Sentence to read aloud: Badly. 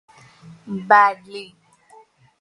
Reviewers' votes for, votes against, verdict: 2, 0, accepted